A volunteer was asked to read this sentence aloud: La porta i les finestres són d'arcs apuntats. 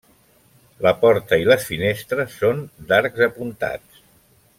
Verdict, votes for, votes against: accepted, 3, 0